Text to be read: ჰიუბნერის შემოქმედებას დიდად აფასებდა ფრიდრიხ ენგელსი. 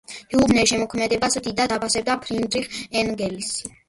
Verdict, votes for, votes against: rejected, 1, 2